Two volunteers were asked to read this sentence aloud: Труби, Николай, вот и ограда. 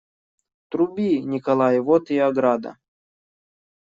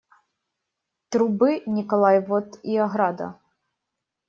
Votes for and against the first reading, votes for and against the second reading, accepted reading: 2, 0, 0, 2, first